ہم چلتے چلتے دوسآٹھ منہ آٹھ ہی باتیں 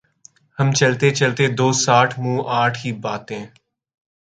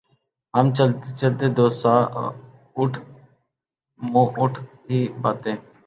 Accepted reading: first